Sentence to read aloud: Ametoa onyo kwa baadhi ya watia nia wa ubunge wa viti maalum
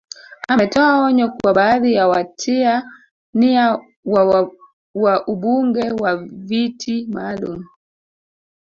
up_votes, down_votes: 1, 2